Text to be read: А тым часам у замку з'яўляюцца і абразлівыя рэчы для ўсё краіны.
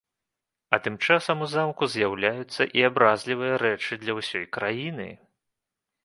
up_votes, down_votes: 0, 2